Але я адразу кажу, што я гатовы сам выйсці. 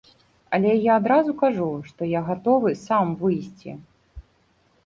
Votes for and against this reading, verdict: 2, 0, accepted